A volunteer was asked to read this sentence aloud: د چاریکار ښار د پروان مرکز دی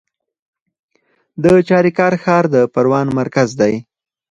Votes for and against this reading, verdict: 4, 0, accepted